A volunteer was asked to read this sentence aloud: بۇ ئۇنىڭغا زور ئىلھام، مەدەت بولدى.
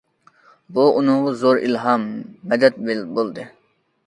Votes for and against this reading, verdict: 1, 2, rejected